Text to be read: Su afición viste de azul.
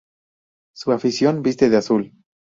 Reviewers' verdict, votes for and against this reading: accepted, 2, 0